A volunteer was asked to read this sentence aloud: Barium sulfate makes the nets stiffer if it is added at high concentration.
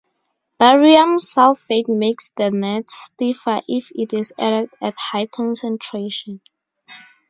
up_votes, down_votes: 2, 0